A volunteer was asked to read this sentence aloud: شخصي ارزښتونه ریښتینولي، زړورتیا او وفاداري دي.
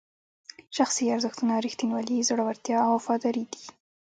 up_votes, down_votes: 2, 0